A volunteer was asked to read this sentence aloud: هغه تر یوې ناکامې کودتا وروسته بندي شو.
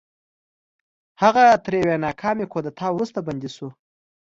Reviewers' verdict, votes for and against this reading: accepted, 2, 0